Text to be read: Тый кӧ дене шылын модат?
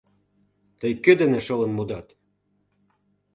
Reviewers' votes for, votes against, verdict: 2, 0, accepted